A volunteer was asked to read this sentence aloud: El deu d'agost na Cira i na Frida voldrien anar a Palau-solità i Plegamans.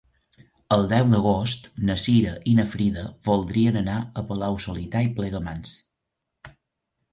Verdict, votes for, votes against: accepted, 4, 0